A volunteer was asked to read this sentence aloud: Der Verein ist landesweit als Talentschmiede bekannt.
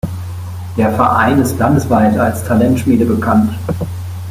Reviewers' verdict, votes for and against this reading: accepted, 2, 0